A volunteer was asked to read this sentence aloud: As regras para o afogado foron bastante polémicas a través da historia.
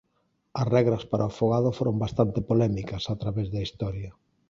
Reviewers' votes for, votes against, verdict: 11, 0, accepted